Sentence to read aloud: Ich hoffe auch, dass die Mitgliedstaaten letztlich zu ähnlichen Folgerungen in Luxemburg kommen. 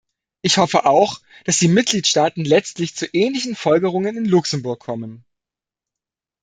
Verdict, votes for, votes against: accepted, 2, 0